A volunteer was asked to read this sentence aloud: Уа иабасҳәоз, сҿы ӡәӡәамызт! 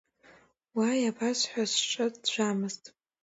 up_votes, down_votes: 2, 0